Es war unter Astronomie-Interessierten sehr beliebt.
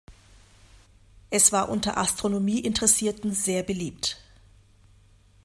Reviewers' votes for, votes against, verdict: 2, 0, accepted